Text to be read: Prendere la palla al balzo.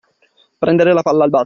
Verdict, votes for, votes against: accepted, 2, 1